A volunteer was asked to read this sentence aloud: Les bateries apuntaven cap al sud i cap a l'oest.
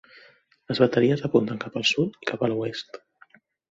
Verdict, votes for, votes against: rejected, 0, 2